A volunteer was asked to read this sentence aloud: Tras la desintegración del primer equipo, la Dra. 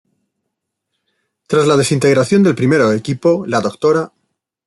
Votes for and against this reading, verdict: 1, 2, rejected